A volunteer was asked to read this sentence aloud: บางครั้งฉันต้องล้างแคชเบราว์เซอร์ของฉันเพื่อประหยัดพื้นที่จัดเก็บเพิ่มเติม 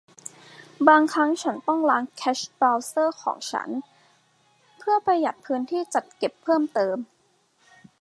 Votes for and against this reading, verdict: 2, 0, accepted